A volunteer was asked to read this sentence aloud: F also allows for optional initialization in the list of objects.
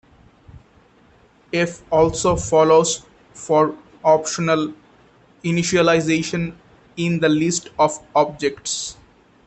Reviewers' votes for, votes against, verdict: 0, 2, rejected